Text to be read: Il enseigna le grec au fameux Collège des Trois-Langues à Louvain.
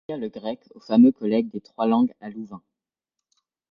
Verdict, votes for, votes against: accepted, 2, 1